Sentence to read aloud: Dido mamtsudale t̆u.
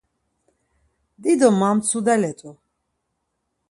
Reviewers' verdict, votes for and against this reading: accepted, 4, 0